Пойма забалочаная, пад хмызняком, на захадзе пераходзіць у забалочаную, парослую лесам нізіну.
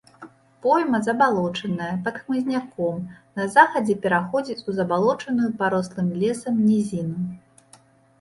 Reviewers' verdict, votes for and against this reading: rejected, 0, 2